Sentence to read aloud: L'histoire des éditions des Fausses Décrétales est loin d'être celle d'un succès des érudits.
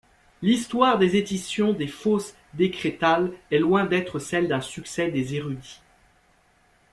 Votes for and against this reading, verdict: 2, 0, accepted